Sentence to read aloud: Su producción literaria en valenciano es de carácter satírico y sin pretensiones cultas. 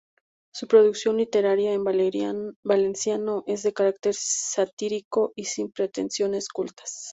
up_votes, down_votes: 0, 2